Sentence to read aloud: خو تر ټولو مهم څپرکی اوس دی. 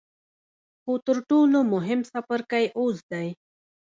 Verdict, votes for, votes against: accepted, 2, 0